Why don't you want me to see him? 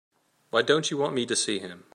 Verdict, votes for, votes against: accepted, 2, 0